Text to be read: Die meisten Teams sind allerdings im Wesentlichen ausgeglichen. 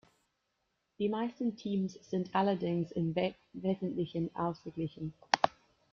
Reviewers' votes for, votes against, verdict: 0, 2, rejected